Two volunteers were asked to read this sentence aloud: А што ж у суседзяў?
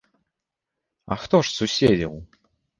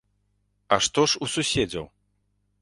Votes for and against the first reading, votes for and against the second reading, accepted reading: 1, 2, 2, 0, second